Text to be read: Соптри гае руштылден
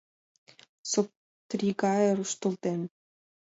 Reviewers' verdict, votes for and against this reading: accepted, 2, 1